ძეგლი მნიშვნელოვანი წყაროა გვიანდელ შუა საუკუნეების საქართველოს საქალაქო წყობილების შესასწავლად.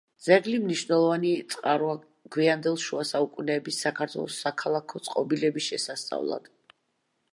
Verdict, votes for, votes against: accepted, 2, 0